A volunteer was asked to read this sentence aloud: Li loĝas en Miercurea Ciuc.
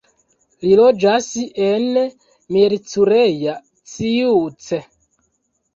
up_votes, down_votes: 1, 2